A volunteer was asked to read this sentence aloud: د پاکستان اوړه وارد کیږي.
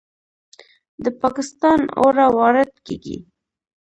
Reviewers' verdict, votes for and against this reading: accepted, 2, 0